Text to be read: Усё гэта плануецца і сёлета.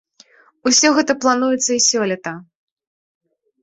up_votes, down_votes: 2, 0